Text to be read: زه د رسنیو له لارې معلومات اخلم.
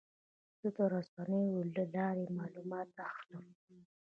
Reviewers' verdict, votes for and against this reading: rejected, 1, 2